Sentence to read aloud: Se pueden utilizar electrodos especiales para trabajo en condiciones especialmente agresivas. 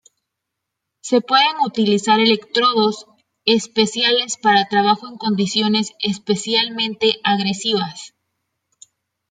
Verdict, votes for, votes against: accepted, 2, 0